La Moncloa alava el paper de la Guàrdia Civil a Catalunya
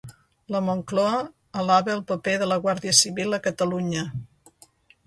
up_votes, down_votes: 1, 2